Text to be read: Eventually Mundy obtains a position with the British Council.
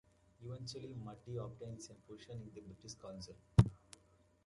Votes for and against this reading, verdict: 1, 2, rejected